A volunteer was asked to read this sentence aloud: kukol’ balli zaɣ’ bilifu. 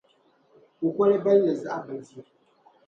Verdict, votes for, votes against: accepted, 2, 0